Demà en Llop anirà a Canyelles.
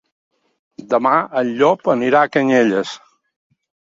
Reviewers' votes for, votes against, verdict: 0, 2, rejected